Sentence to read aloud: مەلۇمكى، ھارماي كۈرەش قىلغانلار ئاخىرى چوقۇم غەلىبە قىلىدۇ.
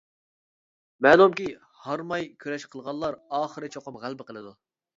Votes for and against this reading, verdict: 2, 0, accepted